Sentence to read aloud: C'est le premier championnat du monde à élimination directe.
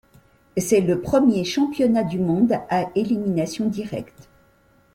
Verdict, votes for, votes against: accepted, 2, 0